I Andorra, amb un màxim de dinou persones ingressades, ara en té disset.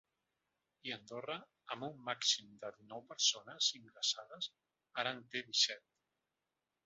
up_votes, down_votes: 4, 2